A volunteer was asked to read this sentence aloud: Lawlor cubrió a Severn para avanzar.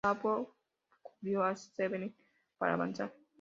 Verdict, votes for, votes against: rejected, 0, 2